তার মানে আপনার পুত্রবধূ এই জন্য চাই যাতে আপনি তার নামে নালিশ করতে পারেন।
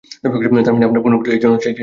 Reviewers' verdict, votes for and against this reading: rejected, 0, 2